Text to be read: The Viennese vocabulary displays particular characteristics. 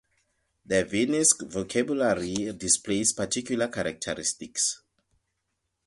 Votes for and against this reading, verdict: 2, 0, accepted